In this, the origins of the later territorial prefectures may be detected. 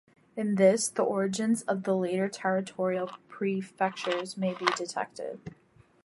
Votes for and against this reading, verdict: 0, 2, rejected